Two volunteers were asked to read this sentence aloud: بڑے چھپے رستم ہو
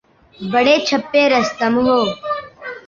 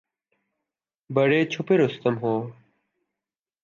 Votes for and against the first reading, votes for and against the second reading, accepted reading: 0, 2, 2, 0, second